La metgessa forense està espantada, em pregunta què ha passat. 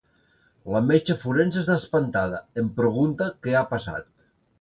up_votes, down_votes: 1, 2